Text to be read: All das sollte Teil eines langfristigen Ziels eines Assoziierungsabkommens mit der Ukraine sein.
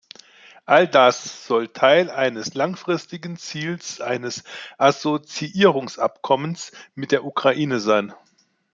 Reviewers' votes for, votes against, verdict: 2, 0, accepted